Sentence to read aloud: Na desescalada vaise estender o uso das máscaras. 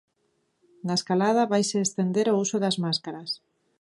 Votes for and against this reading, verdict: 1, 2, rejected